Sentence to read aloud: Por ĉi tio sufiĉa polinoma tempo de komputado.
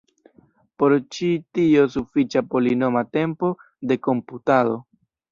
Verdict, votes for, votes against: accepted, 2, 1